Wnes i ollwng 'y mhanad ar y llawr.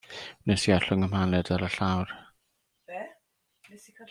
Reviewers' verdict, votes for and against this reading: rejected, 1, 2